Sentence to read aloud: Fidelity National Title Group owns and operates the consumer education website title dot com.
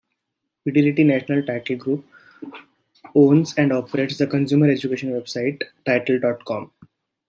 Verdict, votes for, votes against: rejected, 1, 2